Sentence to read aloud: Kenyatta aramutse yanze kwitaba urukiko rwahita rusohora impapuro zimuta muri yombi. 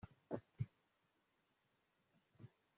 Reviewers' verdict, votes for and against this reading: rejected, 0, 2